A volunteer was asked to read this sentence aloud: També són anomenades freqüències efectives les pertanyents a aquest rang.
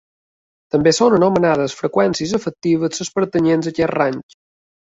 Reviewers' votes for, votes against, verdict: 0, 2, rejected